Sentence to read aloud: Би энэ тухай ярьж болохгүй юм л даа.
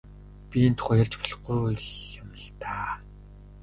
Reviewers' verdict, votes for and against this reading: rejected, 1, 3